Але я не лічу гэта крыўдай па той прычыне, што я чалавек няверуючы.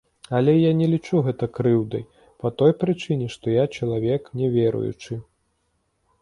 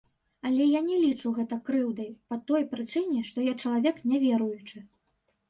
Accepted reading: first